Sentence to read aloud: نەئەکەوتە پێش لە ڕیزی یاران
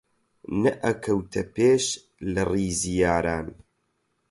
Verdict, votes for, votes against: accepted, 8, 0